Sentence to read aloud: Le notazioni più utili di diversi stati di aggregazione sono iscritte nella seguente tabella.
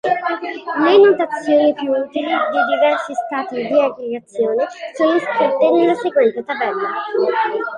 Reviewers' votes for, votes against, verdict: 2, 1, accepted